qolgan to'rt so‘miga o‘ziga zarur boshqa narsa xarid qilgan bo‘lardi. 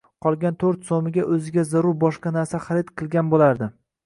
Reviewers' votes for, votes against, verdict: 0, 2, rejected